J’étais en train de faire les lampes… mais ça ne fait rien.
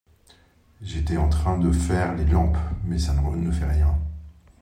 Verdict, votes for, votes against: rejected, 0, 2